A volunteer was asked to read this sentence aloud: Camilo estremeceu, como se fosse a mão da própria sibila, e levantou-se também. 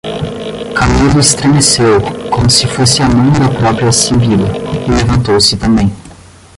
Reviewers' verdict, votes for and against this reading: rejected, 5, 10